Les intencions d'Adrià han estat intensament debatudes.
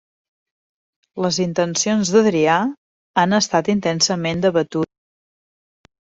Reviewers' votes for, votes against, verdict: 1, 2, rejected